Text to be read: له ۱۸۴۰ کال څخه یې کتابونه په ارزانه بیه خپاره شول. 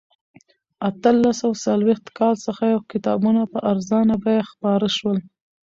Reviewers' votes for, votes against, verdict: 0, 2, rejected